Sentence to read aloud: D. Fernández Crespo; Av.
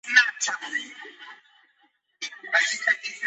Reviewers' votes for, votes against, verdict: 0, 2, rejected